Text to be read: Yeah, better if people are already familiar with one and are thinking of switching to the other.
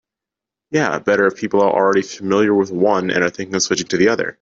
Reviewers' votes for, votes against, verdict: 2, 0, accepted